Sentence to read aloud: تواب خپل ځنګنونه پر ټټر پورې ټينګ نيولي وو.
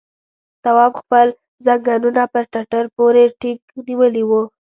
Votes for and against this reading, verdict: 2, 0, accepted